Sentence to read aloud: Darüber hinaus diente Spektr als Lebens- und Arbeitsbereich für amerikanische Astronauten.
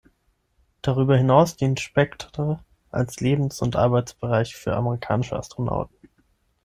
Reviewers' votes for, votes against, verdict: 6, 3, accepted